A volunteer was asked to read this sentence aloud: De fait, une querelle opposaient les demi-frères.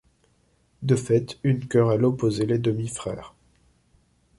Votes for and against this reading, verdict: 2, 0, accepted